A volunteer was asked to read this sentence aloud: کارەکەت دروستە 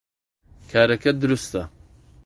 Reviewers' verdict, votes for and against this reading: accepted, 2, 0